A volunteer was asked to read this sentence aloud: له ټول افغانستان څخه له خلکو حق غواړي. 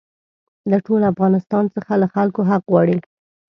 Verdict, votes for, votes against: accepted, 2, 0